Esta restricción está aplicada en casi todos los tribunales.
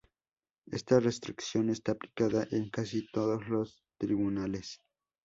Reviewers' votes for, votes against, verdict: 0, 2, rejected